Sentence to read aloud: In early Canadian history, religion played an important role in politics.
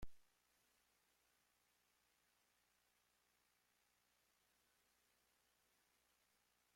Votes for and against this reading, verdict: 0, 2, rejected